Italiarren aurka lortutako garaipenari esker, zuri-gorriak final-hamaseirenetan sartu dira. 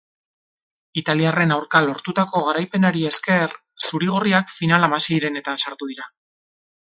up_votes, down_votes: 2, 0